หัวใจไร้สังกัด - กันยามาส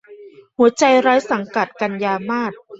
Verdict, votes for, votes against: rejected, 1, 2